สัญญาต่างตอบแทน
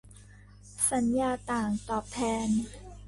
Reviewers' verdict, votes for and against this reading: accepted, 2, 0